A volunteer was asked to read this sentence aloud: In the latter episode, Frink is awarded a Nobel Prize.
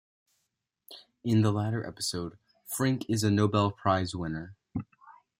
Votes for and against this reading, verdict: 0, 2, rejected